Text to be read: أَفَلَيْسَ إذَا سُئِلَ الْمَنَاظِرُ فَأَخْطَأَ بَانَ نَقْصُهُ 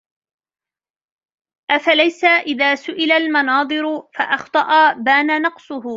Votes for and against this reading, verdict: 2, 1, accepted